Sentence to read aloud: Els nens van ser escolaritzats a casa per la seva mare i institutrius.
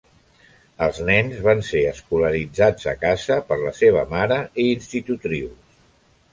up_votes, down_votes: 1, 2